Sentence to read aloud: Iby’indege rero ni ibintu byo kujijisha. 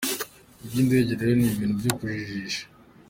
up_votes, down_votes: 3, 1